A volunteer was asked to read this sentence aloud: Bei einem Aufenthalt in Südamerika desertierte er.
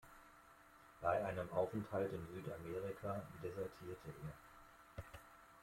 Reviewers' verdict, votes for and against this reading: rejected, 1, 2